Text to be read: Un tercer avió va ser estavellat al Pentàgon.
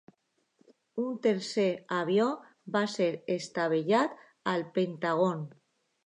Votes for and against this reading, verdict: 1, 2, rejected